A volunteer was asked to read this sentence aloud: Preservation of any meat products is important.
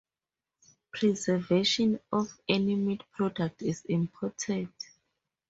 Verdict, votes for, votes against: rejected, 2, 2